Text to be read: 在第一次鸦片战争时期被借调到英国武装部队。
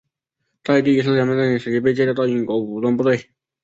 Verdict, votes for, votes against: accepted, 2, 0